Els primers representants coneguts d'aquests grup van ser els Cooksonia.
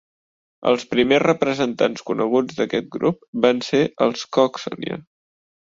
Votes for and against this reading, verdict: 1, 2, rejected